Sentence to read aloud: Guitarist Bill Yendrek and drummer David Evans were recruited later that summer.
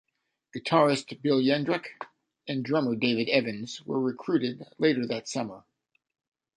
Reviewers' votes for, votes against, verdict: 2, 0, accepted